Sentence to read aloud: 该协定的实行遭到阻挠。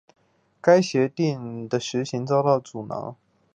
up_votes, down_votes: 2, 0